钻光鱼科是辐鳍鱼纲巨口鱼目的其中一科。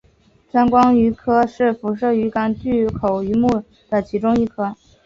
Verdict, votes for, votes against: accepted, 2, 0